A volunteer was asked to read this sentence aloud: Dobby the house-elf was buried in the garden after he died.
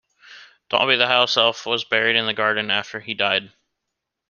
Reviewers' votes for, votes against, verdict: 2, 0, accepted